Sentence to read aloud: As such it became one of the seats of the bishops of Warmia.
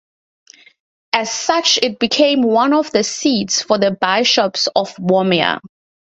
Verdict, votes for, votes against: rejected, 2, 8